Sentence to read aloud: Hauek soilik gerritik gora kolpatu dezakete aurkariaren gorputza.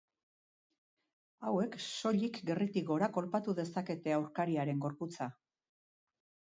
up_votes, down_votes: 4, 0